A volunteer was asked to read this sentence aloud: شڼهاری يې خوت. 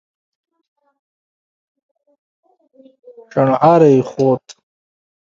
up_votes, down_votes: 0, 2